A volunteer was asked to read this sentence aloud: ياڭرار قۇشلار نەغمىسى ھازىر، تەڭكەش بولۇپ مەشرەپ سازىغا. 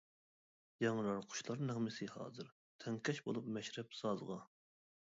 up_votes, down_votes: 1, 2